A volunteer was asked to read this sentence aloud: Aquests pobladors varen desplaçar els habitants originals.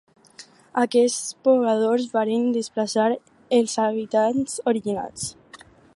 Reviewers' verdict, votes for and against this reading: accepted, 6, 0